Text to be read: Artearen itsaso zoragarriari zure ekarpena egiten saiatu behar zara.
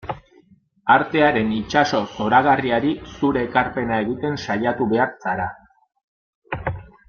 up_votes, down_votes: 2, 0